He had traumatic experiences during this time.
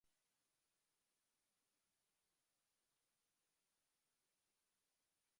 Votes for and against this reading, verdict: 0, 2, rejected